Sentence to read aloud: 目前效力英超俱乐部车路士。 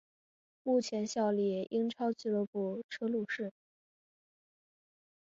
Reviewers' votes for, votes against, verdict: 4, 0, accepted